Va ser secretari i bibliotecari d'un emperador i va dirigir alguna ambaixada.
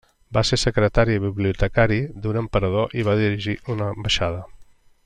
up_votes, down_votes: 0, 2